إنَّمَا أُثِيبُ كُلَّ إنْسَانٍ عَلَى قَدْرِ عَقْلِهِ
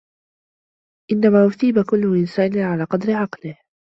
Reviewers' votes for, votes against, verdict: 2, 0, accepted